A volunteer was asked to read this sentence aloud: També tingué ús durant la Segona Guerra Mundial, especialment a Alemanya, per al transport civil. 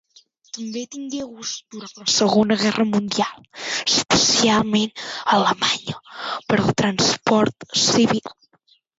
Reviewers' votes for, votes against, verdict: 1, 2, rejected